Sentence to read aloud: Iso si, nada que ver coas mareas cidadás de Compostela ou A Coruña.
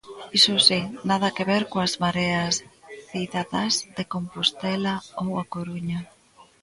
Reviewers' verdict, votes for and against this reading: rejected, 1, 2